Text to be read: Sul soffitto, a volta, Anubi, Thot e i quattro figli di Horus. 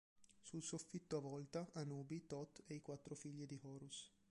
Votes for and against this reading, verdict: 2, 3, rejected